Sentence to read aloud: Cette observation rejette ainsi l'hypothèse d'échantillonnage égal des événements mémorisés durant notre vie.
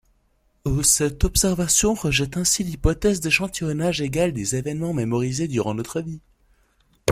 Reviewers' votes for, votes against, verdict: 1, 2, rejected